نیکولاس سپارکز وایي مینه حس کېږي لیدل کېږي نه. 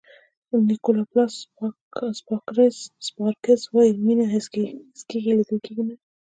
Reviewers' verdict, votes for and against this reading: accepted, 2, 0